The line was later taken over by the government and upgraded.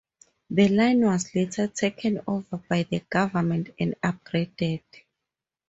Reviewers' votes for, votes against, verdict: 2, 2, rejected